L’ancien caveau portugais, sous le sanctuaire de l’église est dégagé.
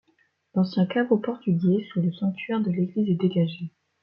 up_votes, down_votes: 2, 0